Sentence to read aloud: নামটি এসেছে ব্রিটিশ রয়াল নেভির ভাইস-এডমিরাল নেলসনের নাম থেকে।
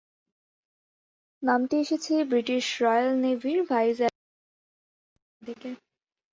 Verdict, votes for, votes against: rejected, 0, 2